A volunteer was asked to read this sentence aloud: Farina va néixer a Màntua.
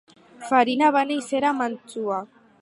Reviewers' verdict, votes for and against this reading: accepted, 4, 2